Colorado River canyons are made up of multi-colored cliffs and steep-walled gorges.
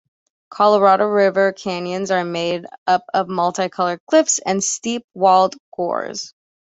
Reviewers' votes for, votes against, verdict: 0, 2, rejected